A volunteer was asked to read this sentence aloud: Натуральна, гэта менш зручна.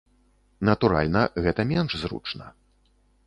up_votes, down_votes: 2, 0